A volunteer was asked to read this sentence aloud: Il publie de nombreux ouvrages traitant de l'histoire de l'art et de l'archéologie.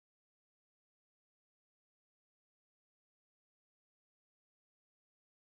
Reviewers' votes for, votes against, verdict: 1, 2, rejected